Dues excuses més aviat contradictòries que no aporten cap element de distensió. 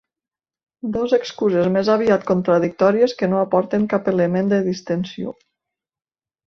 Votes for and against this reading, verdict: 0, 2, rejected